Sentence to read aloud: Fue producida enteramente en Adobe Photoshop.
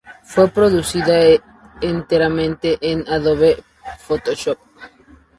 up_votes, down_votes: 2, 0